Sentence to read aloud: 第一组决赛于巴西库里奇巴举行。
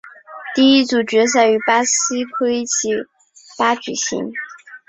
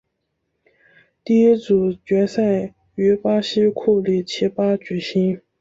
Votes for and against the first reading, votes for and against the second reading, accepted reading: 0, 2, 4, 0, second